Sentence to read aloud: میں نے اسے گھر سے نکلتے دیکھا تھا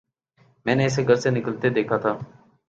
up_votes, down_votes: 5, 0